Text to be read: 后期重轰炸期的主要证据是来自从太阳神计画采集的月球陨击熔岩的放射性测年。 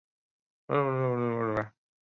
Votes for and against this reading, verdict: 0, 2, rejected